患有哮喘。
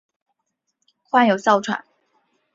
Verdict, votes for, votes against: accepted, 10, 0